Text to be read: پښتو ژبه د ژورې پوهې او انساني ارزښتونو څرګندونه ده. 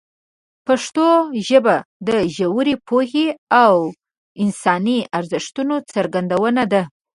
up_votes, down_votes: 2, 1